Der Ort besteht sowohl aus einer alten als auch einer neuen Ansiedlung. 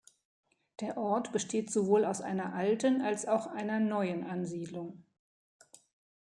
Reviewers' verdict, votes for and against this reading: accepted, 2, 0